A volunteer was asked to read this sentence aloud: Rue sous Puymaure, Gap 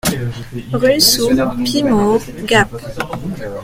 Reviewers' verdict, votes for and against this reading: rejected, 0, 2